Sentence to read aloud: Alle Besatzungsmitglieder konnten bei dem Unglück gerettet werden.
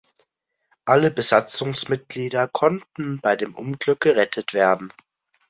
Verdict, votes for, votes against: accepted, 2, 0